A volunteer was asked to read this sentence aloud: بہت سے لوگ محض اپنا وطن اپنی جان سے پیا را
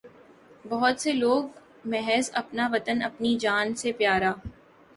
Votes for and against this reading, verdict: 4, 0, accepted